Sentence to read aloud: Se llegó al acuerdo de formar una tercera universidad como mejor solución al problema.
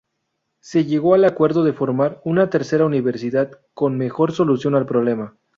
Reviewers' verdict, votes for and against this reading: rejected, 0, 2